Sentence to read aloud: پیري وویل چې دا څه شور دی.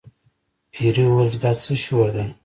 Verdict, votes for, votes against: accepted, 2, 0